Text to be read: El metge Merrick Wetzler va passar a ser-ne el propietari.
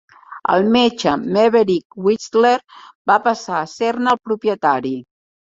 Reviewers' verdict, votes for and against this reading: rejected, 1, 2